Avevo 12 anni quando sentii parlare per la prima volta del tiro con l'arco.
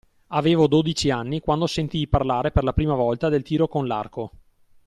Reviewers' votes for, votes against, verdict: 0, 2, rejected